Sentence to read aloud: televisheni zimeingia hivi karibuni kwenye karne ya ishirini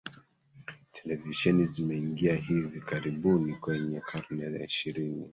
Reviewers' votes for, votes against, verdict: 1, 2, rejected